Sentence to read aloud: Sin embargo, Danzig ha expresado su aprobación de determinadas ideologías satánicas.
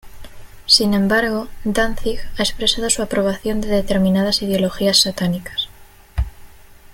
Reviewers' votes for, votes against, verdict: 2, 0, accepted